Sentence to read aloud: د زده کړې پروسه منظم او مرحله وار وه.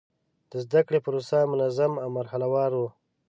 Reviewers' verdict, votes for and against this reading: accepted, 2, 0